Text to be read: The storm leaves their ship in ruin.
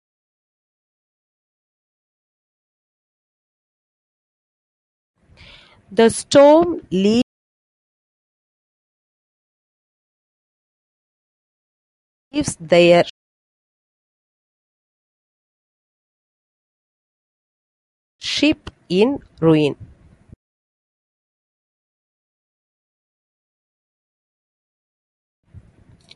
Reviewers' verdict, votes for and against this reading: rejected, 0, 2